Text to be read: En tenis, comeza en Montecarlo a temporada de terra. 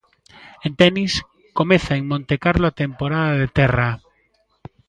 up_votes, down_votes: 2, 0